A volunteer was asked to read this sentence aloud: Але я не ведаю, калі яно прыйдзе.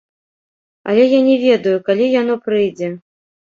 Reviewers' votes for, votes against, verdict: 0, 2, rejected